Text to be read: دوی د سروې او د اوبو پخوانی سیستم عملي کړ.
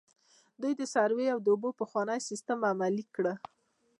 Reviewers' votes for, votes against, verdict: 0, 2, rejected